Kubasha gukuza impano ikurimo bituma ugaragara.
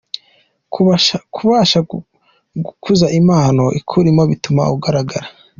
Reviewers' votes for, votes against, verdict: 2, 1, accepted